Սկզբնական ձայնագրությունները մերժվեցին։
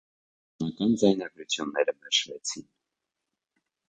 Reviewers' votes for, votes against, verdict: 0, 2, rejected